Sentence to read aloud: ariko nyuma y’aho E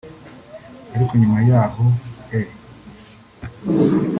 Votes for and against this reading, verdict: 0, 2, rejected